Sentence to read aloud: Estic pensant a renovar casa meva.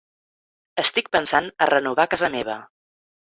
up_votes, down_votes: 3, 0